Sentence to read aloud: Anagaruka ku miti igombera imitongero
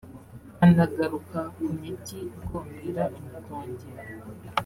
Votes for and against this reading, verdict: 1, 2, rejected